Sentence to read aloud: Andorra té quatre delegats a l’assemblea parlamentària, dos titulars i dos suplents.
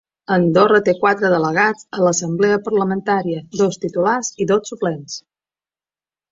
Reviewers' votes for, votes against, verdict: 2, 0, accepted